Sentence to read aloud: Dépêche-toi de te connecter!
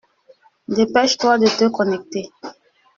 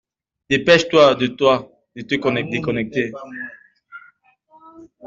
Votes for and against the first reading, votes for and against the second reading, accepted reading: 2, 0, 0, 2, first